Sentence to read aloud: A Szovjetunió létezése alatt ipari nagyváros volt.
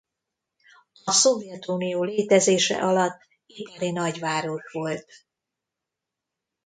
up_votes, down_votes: 1, 2